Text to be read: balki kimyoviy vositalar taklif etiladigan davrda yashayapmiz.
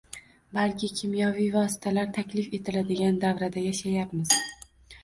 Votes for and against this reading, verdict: 0, 2, rejected